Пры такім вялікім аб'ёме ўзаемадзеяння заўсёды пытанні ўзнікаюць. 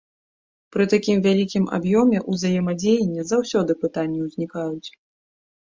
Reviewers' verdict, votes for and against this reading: accepted, 2, 1